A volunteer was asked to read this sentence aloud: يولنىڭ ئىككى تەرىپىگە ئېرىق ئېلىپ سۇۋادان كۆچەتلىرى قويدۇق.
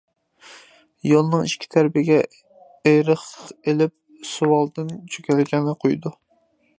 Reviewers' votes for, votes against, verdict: 0, 2, rejected